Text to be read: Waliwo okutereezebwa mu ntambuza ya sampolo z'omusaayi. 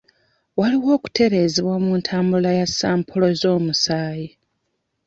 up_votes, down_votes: 1, 2